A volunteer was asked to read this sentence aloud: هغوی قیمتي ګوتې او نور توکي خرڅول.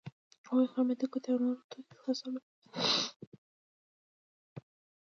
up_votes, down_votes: 1, 2